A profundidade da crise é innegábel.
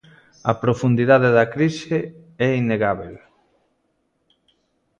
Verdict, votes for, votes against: accepted, 2, 0